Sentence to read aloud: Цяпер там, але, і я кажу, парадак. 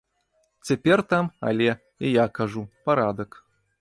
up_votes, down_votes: 2, 0